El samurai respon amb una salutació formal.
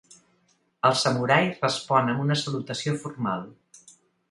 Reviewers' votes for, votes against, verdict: 2, 0, accepted